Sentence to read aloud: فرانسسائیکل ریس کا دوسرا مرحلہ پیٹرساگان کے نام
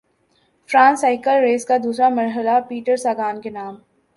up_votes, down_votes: 2, 0